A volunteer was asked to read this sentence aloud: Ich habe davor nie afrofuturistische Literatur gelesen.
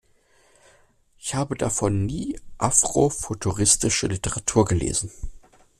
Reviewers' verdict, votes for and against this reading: accepted, 2, 0